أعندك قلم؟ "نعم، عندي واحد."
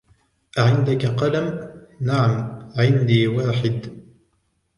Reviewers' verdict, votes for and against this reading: accepted, 2, 0